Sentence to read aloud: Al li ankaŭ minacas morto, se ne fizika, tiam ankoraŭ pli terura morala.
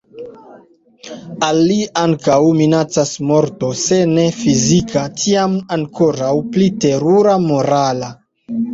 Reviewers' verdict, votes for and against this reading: rejected, 1, 2